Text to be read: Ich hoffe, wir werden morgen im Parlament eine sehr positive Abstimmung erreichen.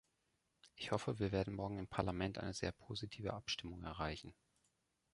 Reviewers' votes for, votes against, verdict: 2, 0, accepted